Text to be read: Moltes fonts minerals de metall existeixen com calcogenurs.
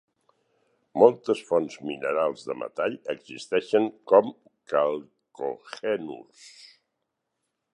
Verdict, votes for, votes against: rejected, 0, 6